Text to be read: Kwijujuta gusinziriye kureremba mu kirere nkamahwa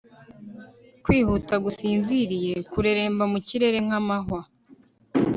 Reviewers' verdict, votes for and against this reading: rejected, 0, 2